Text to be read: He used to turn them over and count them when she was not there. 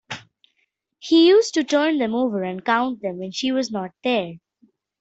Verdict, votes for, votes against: rejected, 1, 2